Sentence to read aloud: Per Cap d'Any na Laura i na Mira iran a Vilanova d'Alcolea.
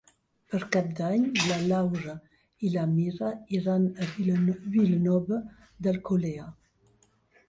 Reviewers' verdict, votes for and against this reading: accepted, 2, 1